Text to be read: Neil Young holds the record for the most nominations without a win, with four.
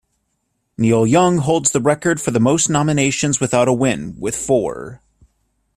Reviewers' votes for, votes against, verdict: 2, 0, accepted